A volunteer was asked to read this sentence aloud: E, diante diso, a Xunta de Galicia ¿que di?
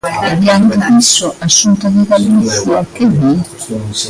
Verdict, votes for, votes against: rejected, 1, 2